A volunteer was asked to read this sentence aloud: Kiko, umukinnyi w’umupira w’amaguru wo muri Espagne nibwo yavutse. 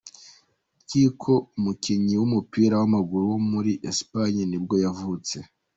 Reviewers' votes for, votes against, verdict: 0, 2, rejected